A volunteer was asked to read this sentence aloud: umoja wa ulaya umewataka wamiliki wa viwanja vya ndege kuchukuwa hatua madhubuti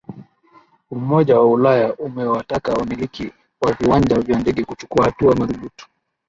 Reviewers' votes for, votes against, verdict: 18, 1, accepted